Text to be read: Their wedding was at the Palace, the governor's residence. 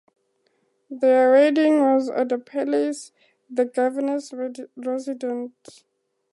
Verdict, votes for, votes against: accepted, 2, 0